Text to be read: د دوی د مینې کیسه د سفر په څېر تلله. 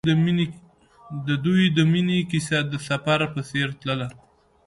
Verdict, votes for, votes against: accepted, 2, 0